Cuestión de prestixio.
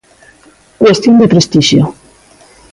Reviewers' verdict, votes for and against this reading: accepted, 2, 0